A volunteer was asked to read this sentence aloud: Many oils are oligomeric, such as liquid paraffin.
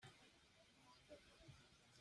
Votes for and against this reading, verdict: 0, 2, rejected